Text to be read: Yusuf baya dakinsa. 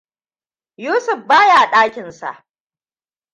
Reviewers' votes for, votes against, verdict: 2, 0, accepted